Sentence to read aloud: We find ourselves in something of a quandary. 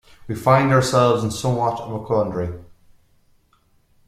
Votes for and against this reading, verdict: 0, 2, rejected